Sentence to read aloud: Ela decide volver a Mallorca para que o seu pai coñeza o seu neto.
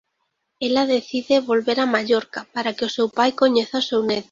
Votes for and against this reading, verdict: 1, 2, rejected